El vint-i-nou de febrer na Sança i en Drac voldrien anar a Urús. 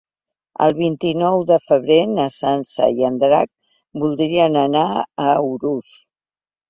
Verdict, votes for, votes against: accepted, 2, 0